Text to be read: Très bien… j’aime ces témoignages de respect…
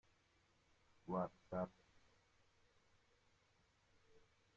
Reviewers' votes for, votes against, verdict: 0, 2, rejected